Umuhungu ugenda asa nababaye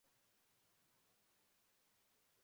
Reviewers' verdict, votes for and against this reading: rejected, 0, 2